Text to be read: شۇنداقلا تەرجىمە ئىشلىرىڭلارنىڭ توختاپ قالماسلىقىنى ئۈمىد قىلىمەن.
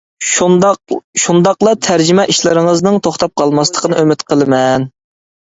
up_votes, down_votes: 0, 2